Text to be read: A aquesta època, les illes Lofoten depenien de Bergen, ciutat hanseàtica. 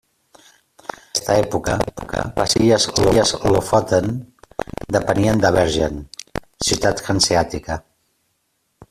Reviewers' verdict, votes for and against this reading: rejected, 0, 2